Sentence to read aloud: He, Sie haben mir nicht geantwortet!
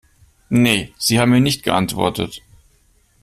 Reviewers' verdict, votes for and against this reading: rejected, 0, 2